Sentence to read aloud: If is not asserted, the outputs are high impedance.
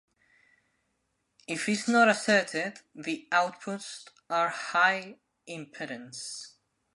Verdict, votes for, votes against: rejected, 0, 2